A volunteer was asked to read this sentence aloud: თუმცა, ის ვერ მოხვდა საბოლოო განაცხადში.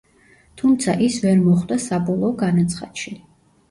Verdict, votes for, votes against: accepted, 2, 0